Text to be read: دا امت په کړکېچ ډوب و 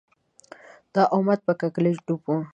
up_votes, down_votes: 1, 4